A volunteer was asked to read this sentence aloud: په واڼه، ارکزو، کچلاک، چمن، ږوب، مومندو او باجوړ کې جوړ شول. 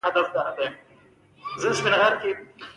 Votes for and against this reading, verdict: 0, 2, rejected